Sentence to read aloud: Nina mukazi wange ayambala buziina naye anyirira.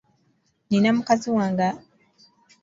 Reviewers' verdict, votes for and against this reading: rejected, 0, 2